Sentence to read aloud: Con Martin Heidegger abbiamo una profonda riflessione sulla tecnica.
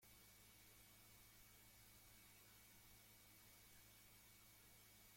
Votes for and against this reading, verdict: 0, 2, rejected